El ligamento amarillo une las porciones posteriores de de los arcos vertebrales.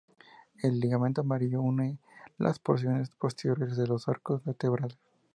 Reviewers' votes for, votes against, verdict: 0, 2, rejected